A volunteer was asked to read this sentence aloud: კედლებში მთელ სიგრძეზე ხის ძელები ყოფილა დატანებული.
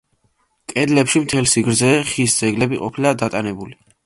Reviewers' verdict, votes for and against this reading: rejected, 1, 2